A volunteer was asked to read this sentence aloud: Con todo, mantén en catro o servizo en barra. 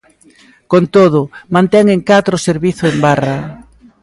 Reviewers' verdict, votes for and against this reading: rejected, 1, 2